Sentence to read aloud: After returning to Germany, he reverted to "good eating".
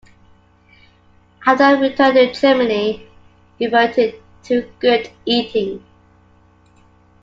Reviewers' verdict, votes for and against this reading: rejected, 1, 2